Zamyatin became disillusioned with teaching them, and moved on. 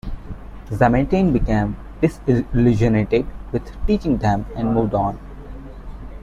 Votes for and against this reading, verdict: 0, 2, rejected